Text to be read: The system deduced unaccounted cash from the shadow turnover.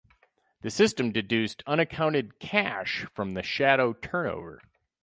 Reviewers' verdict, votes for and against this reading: accepted, 4, 0